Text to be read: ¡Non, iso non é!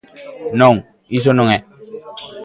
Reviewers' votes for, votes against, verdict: 2, 0, accepted